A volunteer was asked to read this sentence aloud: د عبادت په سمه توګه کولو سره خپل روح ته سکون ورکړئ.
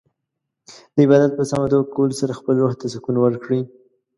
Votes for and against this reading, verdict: 1, 2, rejected